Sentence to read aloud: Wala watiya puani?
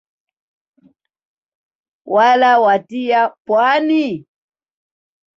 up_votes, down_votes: 1, 2